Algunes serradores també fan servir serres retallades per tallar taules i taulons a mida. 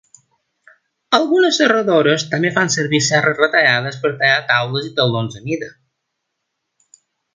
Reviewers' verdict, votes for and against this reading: accepted, 2, 0